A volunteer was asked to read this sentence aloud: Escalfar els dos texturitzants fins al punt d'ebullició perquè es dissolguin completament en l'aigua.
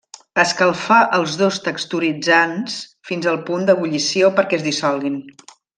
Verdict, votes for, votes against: rejected, 0, 2